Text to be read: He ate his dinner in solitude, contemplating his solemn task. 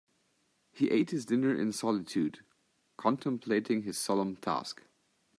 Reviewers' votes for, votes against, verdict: 2, 0, accepted